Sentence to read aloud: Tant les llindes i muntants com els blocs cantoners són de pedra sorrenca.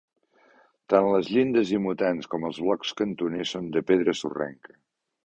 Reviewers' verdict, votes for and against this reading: rejected, 0, 2